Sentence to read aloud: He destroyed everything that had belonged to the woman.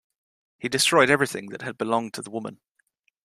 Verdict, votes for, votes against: accepted, 2, 0